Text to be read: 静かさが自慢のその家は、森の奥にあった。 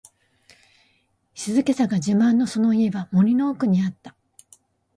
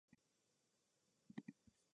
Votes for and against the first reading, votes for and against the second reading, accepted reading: 2, 0, 1, 2, first